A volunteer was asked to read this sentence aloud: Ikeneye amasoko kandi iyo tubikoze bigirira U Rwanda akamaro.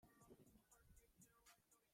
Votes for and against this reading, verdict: 0, 3, rejected